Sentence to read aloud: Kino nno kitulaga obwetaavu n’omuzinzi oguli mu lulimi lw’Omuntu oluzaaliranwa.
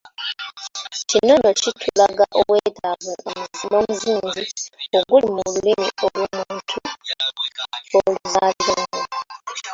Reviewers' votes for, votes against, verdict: 0, 2, rejected